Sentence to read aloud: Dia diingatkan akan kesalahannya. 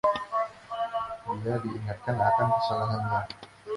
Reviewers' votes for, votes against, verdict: 0, 2, rejected